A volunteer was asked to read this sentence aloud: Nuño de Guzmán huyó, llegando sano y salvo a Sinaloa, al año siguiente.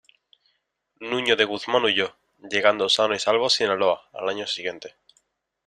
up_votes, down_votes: 2, 0